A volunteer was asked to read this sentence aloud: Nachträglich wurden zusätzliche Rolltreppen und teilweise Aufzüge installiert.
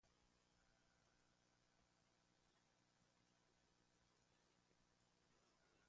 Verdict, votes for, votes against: rejected, 0, 2